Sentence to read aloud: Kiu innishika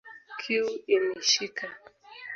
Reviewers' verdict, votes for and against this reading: rejected, 0, 2